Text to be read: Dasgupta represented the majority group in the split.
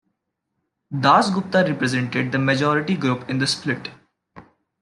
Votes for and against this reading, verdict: 2, 0, accepted